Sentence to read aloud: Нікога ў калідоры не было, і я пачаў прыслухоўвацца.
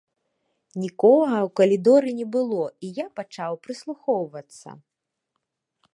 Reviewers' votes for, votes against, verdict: 2, 0, accepted